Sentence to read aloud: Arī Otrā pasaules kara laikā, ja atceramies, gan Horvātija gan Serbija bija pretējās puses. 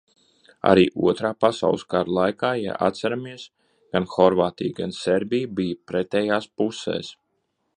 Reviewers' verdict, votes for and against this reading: rejected, 1, 2